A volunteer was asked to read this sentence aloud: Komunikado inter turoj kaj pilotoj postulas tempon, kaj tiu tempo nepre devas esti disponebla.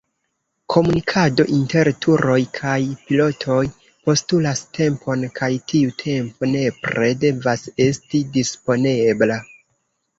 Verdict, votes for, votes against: rejected, 1, 2